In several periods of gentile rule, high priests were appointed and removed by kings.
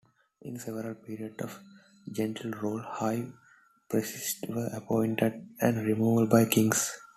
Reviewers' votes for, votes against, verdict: 0, 2, rejected